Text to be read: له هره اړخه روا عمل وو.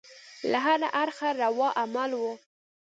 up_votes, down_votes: 2, 0